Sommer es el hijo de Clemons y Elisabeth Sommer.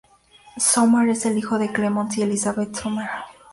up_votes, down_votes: 2, 0